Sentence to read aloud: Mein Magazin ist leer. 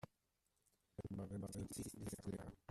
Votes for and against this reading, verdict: 0, 2, rejected